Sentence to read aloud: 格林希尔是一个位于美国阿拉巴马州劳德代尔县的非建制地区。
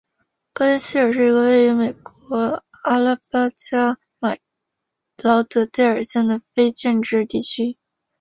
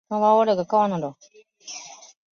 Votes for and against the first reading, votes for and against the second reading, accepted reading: 4, 3, 1, 3, first